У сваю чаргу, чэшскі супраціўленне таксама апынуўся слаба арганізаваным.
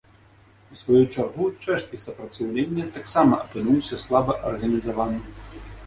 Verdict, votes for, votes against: accepted, 2, 1